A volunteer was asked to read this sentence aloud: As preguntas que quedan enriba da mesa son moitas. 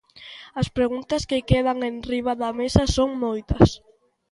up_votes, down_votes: 2, 0